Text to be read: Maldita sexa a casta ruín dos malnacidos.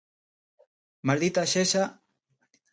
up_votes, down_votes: 0, 2